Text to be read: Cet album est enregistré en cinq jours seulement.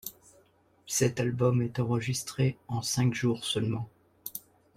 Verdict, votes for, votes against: accepted, 2, 0